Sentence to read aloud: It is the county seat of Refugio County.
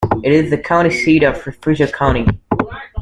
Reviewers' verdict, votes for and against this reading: rejected, 1, 2